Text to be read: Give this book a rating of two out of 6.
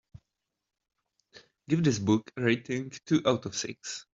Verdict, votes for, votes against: rejected, 0, 2